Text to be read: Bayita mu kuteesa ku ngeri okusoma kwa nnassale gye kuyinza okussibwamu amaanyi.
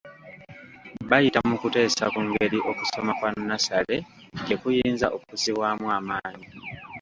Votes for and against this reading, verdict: 2, 0, accepted